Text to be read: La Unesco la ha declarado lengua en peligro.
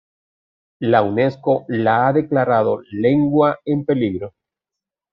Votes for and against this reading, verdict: 2, 0, accepted